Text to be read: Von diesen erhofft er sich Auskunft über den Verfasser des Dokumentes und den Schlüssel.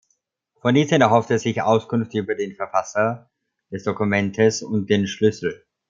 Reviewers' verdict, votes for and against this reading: accepted, 2, 0